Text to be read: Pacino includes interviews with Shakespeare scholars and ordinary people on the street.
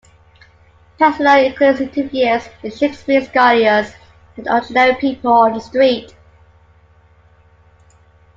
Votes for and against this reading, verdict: 2, 1, accepted